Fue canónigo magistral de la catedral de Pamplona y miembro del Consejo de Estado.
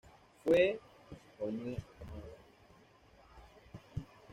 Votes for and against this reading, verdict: 1, 2, rejected